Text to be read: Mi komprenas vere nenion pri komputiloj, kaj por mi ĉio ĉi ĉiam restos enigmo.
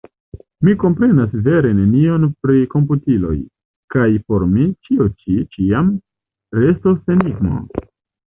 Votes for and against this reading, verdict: 1, 2, rejected